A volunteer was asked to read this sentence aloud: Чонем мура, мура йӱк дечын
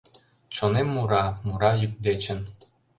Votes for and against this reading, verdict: 2, 0, accepted